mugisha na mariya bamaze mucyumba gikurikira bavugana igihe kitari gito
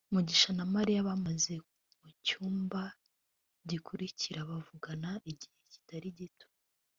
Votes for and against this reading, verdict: 2, 0, accepted